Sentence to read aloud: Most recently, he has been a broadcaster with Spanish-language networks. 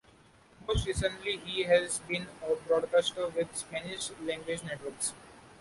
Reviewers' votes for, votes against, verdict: 2, 0, accepted